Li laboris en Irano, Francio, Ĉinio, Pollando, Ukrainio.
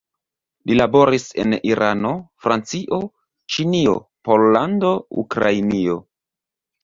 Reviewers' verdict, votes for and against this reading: accepted, 2, 0